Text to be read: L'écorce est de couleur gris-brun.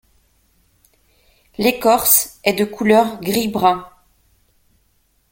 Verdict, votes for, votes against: accepted, 2, 0